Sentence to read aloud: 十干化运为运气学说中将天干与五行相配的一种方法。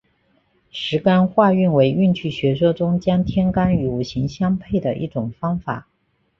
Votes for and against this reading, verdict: 3, 0, accepted